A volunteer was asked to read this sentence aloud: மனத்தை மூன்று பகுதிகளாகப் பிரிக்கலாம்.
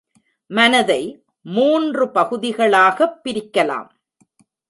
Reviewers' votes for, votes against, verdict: 0, 2, rejected